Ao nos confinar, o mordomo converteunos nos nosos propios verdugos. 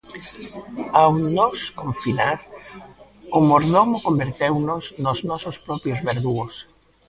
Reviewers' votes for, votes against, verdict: 1, 2, rejected